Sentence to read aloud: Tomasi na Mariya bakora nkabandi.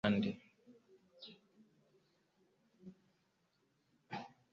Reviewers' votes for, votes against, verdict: 1, 2, rejected